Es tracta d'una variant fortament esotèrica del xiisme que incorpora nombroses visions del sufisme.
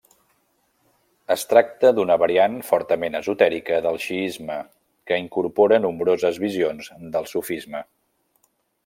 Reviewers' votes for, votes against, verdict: 3, 0, accepted